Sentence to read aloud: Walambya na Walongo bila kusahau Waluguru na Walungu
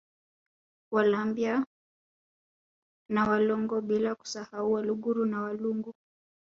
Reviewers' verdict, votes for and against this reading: rejected, 0, 2